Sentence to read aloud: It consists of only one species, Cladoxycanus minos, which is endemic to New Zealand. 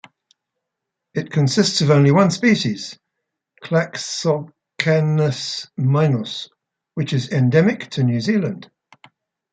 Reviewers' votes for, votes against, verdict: 2, 0, accepted